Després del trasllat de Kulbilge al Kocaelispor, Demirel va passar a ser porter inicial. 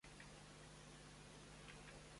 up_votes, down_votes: 0, 2